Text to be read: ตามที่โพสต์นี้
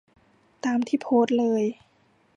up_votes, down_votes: 1, 2